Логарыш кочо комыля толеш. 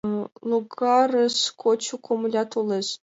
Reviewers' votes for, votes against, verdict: 4, 3, accepted